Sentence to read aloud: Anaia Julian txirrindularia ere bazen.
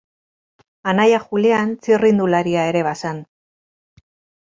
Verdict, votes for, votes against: rejected, 2, 2